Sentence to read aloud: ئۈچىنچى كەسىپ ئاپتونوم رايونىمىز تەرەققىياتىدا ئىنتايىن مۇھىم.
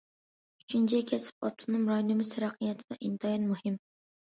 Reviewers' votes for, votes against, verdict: 2, 0, accepted